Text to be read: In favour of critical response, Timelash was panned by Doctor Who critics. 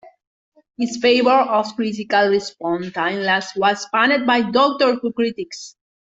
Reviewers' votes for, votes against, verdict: 0, 2, rejected